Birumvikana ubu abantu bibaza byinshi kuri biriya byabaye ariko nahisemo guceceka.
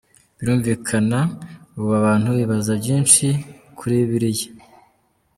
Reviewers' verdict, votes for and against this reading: rejected, 0, 3